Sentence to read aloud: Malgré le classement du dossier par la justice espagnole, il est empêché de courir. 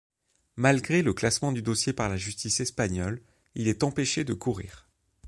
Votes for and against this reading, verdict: 2, 0, accepted